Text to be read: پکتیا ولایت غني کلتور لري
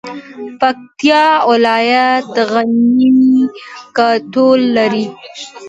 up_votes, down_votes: 2, 1